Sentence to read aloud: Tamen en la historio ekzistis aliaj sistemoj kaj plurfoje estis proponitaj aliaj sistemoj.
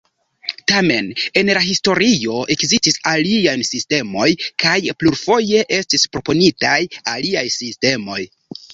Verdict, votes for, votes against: rejected, 1, 2